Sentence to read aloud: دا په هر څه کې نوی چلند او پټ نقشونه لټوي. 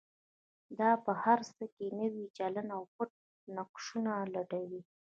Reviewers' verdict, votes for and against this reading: accepted, 2, 0